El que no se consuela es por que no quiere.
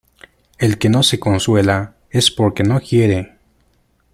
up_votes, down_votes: 2, 0